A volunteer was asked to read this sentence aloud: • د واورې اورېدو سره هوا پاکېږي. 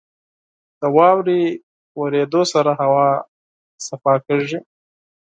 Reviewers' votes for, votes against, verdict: 8, 4, accepted